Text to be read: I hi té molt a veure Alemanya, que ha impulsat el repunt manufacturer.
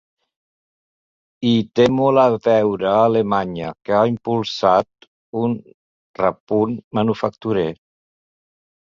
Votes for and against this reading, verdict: 0, 2, rejected